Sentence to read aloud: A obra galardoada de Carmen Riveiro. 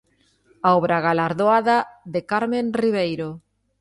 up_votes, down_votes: 2, 0